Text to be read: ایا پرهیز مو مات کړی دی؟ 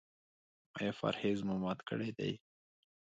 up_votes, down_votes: 2, 1